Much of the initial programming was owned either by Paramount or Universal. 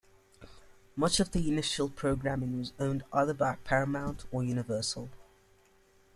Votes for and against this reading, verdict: 2, 1, accepted